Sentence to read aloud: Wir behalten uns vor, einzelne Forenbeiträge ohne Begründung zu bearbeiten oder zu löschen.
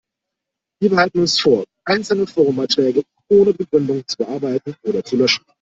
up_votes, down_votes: 0, 2